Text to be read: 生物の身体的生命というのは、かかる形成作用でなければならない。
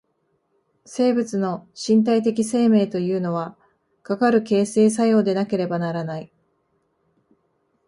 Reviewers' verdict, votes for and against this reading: accepted, 2, 0